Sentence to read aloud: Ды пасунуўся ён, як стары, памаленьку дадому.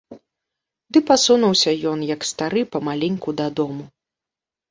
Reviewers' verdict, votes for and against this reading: accepted, 2, 0